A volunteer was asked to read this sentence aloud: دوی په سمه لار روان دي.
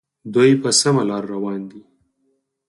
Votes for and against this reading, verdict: 2, 4, rejected